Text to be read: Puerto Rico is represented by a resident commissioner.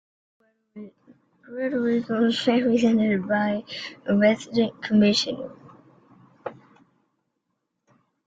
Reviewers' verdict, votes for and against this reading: accepted, 2, 1